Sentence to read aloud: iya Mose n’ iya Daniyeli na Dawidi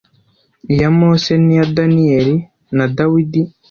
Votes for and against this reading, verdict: 2, 0, accepted